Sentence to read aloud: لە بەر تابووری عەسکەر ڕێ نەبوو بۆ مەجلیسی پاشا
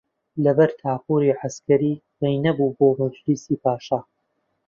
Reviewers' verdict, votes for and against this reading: rejected, 1, 2